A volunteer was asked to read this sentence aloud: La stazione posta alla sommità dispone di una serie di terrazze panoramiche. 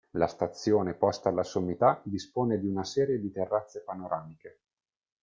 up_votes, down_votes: 2, 0